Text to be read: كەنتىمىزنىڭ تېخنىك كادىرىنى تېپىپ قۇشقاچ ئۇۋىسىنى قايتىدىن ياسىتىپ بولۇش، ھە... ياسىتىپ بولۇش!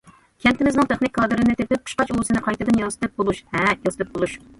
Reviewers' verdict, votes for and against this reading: rejected, 1, 2